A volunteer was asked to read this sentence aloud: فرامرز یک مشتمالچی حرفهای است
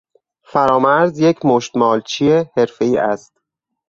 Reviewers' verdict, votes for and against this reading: accepted, 4, 0